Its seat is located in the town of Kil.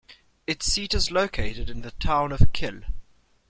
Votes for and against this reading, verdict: 2, 0, accepted